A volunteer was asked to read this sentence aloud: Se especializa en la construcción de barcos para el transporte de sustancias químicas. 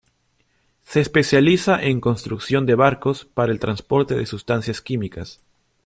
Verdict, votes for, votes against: rejected, 0, 2